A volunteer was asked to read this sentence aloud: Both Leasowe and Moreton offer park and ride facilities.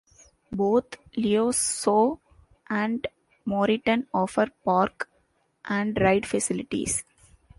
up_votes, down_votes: 1, 2